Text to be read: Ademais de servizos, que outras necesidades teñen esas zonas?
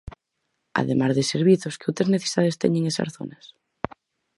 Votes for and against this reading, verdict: 4, 0, accepted